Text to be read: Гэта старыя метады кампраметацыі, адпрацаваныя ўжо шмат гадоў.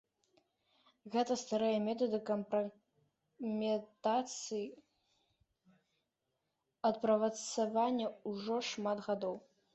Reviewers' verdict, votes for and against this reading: rejected, 1, 2